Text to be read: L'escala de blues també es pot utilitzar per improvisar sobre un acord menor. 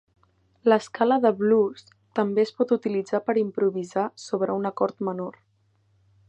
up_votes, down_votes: 3, 0